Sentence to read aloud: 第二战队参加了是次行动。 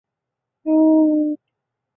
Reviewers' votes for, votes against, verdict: 0, 3, rejected